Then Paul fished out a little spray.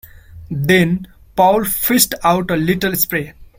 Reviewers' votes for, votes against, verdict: 2, 0, accepted